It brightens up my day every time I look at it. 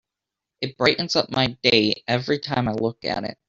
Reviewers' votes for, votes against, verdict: 1, 2, rejected